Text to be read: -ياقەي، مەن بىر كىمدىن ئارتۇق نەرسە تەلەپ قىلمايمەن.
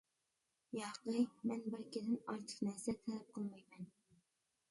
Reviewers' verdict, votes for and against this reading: rejected, 0, 2